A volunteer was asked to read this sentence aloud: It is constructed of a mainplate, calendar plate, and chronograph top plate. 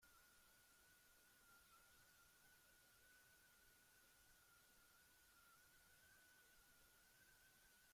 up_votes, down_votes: 0, 2